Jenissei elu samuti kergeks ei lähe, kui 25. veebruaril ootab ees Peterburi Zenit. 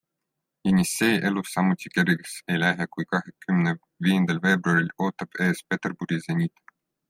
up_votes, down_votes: 0, 2